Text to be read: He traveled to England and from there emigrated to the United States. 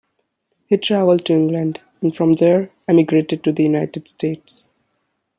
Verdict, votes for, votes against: accepted, 2, 1